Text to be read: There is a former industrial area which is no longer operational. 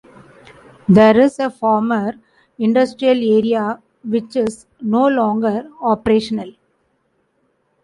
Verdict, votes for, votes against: accepted, 2, 0